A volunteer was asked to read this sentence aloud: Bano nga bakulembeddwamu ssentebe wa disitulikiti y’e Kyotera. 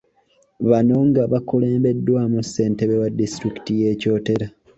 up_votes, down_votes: 2, 0